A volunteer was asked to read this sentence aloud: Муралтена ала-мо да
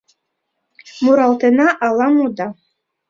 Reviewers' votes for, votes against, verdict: 1, 2, rejected